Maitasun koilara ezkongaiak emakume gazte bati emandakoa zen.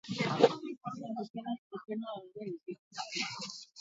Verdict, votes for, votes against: rejected, 0, 8